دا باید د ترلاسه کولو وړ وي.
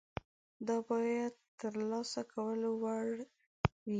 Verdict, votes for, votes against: accepted, 2, 0